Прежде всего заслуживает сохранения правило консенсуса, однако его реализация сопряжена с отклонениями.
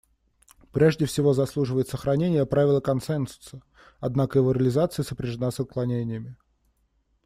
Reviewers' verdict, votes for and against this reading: rejected, 1, 2